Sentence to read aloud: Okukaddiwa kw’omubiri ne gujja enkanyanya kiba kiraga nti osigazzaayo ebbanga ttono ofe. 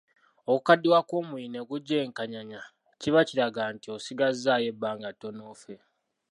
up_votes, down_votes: 2, 0